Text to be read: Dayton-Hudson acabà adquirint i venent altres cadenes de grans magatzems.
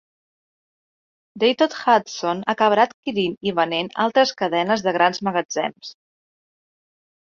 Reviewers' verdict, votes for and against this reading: rejected, 1, 2